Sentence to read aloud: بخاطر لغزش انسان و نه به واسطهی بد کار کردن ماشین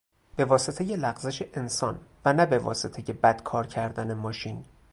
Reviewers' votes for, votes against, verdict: 0, 2, rejected